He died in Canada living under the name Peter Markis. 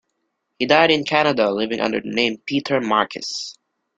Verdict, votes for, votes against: accepted, 2, 1